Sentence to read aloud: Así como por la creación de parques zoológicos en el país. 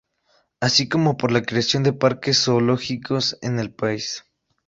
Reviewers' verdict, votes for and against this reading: accepted, 6, 0